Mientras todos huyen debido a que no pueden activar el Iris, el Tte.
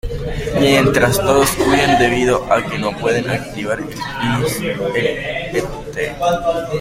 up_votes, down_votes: 0, 2